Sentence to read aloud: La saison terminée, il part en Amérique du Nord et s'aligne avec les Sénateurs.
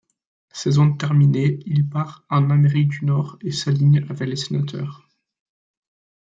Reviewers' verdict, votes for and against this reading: accepted, 2, 0